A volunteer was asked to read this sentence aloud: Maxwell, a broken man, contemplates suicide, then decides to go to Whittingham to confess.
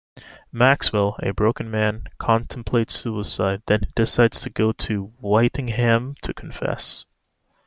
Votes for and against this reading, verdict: 1, 2, rejected